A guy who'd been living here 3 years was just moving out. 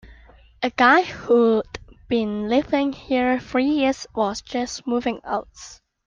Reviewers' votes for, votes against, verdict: 0, 2, rejected